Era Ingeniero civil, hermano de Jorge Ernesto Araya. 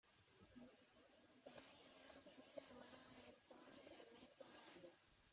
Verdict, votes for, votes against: rejected, 0, 3